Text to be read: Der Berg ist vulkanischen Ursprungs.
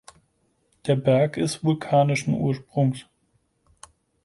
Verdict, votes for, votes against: accepted, 4, 0